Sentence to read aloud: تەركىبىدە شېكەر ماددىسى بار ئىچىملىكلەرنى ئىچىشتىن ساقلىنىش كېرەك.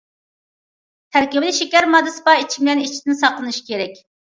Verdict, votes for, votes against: rejected, 0, 2